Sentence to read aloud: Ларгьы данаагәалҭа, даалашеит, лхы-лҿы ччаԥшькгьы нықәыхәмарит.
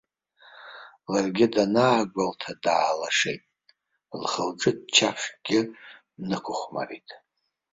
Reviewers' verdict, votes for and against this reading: accepted, 3, 1